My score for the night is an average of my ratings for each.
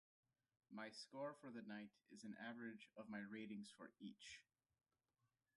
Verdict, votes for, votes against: rejected, 0, 2